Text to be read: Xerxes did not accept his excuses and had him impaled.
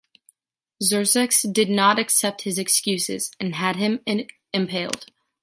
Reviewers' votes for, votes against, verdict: 2, 0, accepted